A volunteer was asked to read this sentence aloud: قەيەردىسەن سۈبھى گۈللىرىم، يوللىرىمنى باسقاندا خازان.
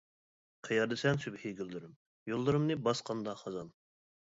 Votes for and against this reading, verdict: 1, 2, rejected